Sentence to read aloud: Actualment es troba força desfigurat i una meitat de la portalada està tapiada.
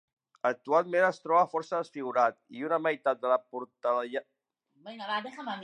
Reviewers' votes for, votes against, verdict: 1, 2, rejected